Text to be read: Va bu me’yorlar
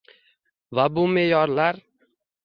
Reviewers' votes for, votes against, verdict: 1, 2, rejected